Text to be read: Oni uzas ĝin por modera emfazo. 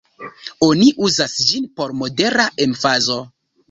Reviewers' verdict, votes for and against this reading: rejected, 1, 2